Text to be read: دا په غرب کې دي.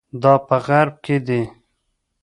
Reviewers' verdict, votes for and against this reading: rejected, 1, 2